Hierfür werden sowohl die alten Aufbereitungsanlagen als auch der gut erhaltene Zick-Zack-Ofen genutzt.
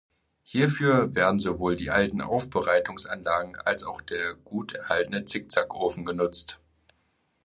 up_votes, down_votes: 2, 0